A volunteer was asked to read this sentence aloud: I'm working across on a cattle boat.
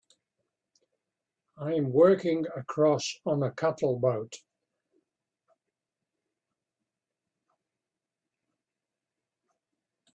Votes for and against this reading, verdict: 1, 2, rejected